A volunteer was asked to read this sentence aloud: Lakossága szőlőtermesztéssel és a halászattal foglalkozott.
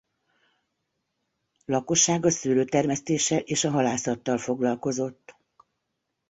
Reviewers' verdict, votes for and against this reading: accepted, 2, 0